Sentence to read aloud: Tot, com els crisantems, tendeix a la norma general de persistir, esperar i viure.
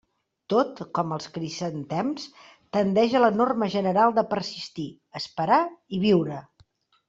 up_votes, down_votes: 1, 2